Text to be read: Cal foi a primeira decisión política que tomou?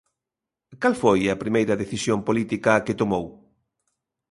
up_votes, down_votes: 2, 0